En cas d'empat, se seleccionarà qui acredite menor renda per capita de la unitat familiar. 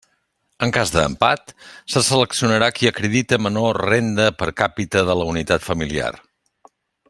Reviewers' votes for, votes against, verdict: 1, 2, rejected